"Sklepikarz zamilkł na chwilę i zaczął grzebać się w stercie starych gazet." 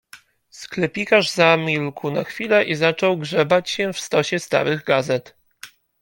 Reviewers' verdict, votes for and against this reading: rejected, 1, 2